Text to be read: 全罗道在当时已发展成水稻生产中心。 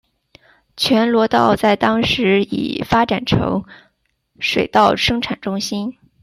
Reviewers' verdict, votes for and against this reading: accepted, 2, 0